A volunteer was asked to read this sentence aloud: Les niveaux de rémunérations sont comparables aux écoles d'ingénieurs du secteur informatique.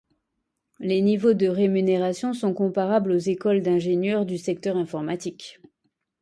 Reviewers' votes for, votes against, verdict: 2, 0, accepted